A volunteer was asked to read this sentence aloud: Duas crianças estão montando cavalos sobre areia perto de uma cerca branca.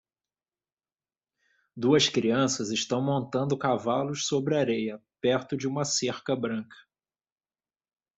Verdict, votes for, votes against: accepted, 2, 0